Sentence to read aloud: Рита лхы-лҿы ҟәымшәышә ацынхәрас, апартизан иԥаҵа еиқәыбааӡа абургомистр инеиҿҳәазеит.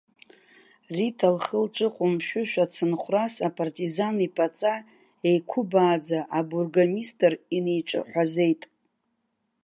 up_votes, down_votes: 0, 2